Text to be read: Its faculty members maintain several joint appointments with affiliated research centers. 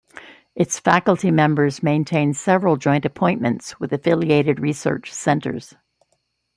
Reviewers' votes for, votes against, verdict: 2, 1, accepted